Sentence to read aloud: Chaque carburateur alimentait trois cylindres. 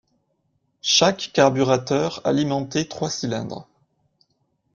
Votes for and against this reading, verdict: 2, 0, accepted